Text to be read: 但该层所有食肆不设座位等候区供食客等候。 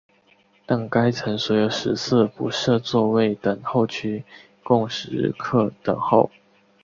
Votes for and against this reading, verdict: 3, 0, accepted